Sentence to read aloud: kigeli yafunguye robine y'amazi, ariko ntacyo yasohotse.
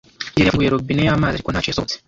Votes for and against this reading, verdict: 0, 2, rejected